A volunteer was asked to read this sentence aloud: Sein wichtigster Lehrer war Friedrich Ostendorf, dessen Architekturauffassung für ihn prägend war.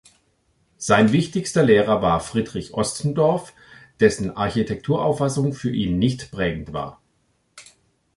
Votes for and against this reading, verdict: 0, 2, rejected